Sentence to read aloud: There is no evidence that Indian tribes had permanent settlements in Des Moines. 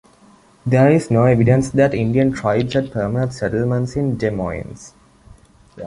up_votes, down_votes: 2, 0